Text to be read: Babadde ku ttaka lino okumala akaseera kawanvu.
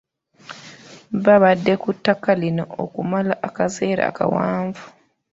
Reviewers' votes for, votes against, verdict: 2, 1, accepted